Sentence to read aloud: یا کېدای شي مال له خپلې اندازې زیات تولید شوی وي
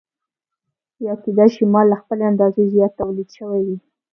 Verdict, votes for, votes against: accepted, 2, 0